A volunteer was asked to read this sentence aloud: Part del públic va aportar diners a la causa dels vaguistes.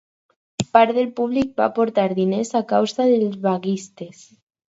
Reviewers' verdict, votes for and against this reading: accepted, 4, 2